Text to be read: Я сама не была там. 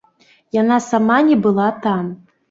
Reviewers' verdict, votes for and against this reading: rejected, 1, 2